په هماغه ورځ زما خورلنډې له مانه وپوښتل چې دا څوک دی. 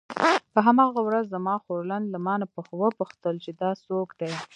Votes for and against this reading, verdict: 0, 2, rejected